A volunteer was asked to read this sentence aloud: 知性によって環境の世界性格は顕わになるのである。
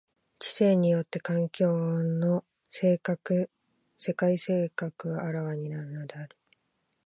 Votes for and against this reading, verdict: 0, 2, rejected